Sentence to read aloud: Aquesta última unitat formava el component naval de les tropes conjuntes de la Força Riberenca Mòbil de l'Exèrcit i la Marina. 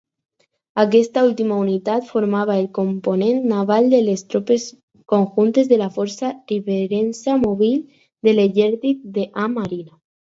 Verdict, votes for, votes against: rejected, 0, 4